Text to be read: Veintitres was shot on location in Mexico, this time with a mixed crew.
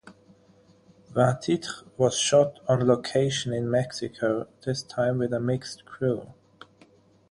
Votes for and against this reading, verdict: 0, 6, rejected